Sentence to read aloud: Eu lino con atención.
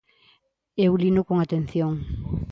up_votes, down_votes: 2, 0